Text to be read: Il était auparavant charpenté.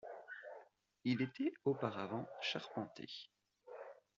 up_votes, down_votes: 0, 2